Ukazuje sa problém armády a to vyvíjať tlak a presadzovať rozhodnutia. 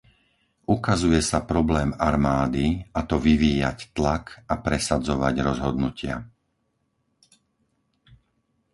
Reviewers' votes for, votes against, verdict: 4, 0, accepted